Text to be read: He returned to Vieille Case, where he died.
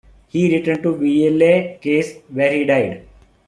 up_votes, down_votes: 2, 1